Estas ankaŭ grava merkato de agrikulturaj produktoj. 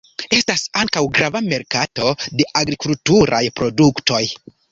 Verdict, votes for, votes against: accepted, 2, 0